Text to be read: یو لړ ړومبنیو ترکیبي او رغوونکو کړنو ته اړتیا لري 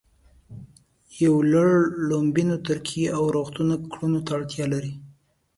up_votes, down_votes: 2, 0